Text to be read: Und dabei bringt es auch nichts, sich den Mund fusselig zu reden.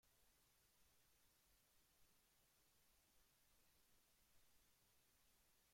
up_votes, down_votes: 0, 2